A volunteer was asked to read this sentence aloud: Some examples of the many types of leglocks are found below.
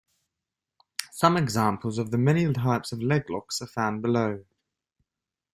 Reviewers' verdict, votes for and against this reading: accepted, 2, 0